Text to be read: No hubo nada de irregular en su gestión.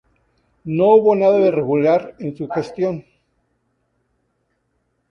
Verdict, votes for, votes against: rejected, 0, 4